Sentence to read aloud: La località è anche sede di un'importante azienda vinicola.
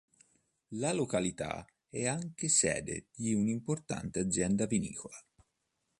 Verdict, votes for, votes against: accepted, 2, 0